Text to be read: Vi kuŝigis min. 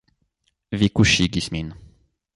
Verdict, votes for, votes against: accepted, 2, 0